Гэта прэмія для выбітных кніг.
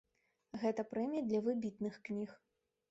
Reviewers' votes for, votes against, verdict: 1, 2, rejected